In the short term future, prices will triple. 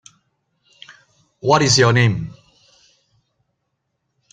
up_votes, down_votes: 0, 2